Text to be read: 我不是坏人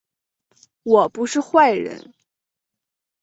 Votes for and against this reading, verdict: 2, 0, accepted